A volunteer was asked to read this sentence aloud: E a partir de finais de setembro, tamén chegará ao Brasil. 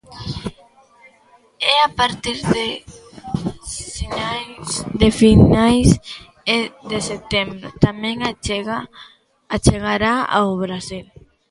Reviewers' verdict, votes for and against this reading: rejected, 0, 2